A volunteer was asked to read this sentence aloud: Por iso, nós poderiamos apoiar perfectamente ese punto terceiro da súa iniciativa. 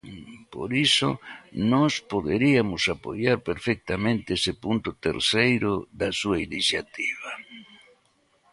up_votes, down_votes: 2, 0